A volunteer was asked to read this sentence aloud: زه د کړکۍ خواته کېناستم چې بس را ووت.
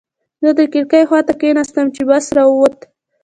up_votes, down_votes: 0, 2